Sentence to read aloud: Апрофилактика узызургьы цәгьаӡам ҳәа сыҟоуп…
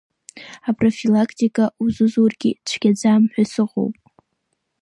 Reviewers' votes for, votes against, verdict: 2, 1, accepted